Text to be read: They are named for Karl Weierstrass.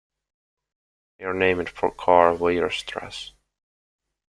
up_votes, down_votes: 2, 0